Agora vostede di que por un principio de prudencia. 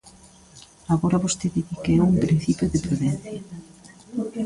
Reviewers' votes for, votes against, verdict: 0, 2, rejected